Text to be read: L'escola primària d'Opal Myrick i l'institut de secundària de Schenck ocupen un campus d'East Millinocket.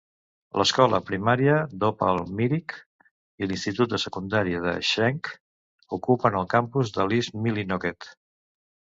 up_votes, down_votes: 1, 2